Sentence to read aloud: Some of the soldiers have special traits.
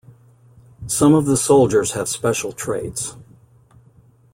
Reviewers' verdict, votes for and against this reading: accepted, 2, 0